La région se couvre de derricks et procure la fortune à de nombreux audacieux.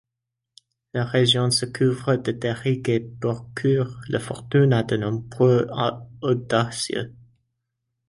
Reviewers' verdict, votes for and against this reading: rejected, 0, 2